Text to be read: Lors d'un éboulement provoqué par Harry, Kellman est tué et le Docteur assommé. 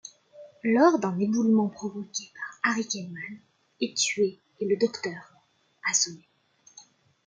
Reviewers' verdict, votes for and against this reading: rejected, 1, 2